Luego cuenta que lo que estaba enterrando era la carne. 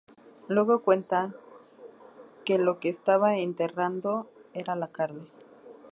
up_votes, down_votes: 2, 0